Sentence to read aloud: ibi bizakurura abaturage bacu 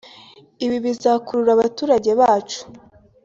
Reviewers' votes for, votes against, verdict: 2, 1, accepted